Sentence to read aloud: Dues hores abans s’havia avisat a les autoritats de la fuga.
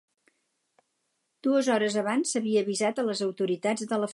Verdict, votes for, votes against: rejected, 2, 4